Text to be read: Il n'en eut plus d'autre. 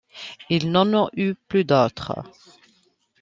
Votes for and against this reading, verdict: 0, 2, rejected